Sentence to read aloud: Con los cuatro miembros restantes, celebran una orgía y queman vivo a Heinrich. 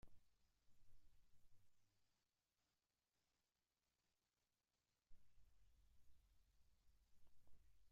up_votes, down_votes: 0, 3